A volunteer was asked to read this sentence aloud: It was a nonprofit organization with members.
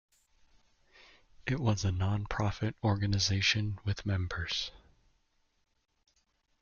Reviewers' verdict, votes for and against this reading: accepted, 2, 0